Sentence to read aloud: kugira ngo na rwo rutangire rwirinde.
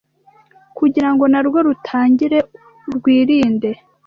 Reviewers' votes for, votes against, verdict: 2, 0, accepted